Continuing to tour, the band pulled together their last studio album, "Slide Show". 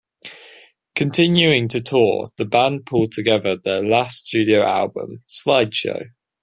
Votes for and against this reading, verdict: 2, 0, accepted